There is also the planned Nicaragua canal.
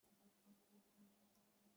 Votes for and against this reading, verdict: 0, 2, rejected